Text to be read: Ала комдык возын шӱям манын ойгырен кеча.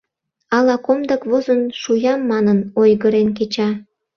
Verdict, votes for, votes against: rejected, 0, 2